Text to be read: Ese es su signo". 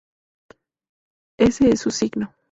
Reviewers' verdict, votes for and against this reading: accepted, 2, 0